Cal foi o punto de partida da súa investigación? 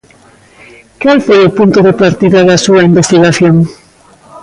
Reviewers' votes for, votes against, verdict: 1, 2, rejected